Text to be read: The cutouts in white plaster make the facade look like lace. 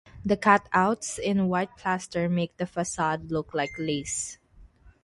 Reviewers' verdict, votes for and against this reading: accepted, 3, 0